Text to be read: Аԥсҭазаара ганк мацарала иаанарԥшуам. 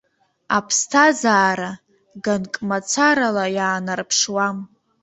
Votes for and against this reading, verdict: 0, 2, rejected